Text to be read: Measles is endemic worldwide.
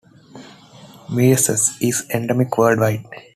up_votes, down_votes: 2, 0